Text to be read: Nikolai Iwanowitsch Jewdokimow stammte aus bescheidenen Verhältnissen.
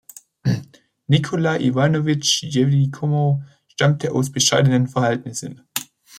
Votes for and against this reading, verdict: 0, 2, rejected